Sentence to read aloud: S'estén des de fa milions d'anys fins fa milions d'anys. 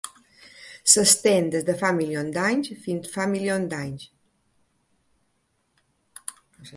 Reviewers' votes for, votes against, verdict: 0, 2, rejected